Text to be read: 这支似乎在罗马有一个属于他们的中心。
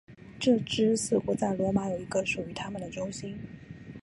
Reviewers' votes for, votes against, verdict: 3, 0, accepted